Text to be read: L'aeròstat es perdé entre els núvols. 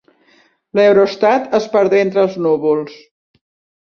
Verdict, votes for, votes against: rejected, 2, 4